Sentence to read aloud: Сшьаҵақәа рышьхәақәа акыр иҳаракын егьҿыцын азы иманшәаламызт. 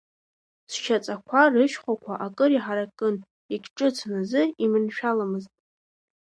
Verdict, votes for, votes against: rejected, 1, 2